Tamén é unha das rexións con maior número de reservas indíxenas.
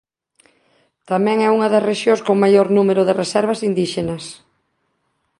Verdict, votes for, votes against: accepted, 2, 0